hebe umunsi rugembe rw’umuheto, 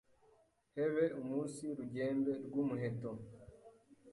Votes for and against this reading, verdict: 0, 2, rejected